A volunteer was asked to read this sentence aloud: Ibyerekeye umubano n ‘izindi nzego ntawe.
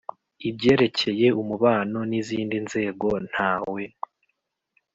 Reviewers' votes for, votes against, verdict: 2, 0, accepted